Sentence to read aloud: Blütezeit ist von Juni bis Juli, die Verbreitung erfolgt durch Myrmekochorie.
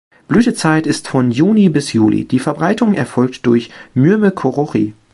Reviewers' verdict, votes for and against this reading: rejected, 1, 2